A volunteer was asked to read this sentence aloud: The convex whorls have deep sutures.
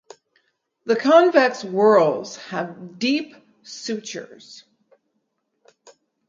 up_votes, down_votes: 4, 0